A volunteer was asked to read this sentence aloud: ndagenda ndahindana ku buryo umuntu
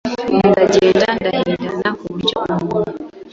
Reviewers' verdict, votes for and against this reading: rejected, 1, 2